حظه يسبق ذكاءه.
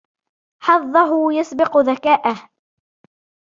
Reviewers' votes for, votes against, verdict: 2, 1, accepted